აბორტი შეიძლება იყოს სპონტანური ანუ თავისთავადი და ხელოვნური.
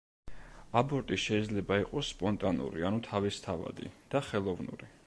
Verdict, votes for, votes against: accepted, 2, 0